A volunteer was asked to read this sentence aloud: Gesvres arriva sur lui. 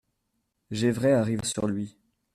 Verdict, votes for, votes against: rejected, 1, 2